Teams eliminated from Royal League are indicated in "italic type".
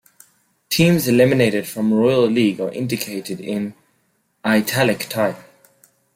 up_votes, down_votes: 2, 0